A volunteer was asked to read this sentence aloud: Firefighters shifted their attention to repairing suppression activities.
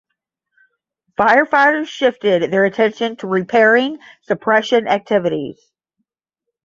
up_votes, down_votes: 5, 5